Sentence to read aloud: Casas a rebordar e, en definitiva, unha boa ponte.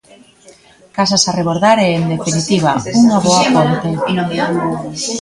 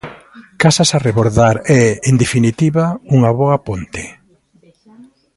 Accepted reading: second